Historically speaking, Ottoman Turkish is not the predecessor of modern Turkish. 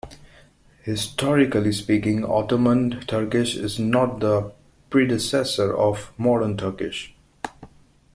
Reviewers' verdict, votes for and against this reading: accepted, 2, 0